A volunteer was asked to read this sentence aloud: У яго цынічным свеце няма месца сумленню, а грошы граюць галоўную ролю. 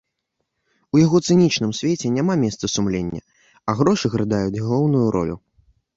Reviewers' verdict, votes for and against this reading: rejected, 0, 2